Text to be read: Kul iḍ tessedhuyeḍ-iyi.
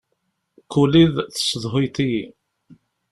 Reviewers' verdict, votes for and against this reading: accepted, 2, 0